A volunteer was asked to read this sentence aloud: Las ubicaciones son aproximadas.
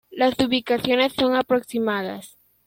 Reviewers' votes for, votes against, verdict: 2, 0, accepted